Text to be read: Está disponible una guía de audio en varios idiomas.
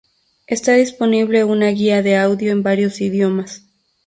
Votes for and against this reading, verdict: 2, 2, rejected